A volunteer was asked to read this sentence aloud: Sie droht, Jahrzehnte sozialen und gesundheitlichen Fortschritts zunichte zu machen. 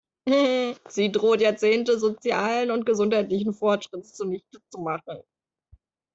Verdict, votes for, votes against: rejected, 1, 2